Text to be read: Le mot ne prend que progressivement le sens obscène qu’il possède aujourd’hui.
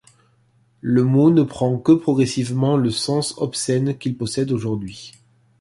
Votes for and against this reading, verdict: 2, 0, accepted